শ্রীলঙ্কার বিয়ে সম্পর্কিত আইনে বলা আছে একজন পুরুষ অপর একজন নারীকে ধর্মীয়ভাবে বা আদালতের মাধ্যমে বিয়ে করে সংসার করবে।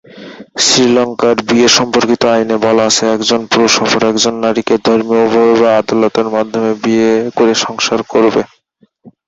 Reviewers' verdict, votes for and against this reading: rejected, 0, 2